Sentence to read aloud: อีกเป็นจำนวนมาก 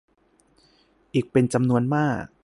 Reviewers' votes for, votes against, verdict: 2, 0, accepted